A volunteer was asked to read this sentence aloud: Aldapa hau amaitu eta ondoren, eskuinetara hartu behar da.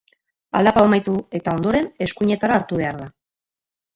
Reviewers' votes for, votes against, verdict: 2, 0, accepted